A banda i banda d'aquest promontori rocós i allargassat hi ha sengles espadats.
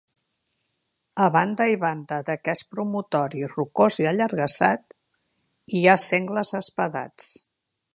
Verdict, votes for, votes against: rejected, 1, 2